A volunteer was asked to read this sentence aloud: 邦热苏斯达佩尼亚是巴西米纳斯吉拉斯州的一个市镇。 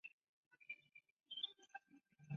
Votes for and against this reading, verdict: 0, 3, rejected